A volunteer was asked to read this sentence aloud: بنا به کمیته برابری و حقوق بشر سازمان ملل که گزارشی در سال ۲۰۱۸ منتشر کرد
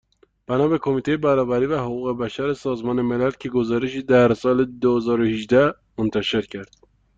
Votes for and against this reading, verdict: 0, 2, rejected